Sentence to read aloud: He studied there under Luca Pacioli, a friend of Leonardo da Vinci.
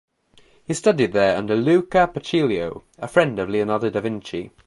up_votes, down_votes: 1, 2